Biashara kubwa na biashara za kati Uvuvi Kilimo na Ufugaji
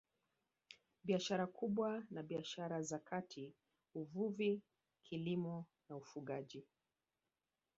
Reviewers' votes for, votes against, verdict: 2, 0, accepted